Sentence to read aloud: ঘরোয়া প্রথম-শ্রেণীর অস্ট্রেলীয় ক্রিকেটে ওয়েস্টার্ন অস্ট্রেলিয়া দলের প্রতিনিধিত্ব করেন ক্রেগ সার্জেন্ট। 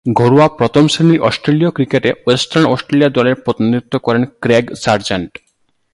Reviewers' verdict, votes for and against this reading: accepted, 5, 2